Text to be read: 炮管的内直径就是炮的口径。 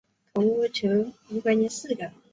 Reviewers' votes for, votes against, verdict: 0, 2, rejected